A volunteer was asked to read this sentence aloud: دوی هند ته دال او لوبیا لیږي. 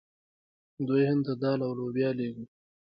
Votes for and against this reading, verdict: 2, 0, accepted